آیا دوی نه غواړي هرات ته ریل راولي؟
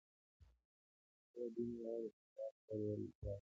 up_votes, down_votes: 1, 2